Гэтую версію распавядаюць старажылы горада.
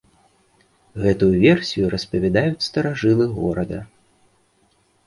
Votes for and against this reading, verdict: 2, 0, accepted